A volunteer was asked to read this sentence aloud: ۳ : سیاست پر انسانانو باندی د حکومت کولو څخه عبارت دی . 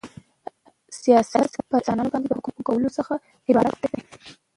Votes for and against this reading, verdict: 0, 2, rejected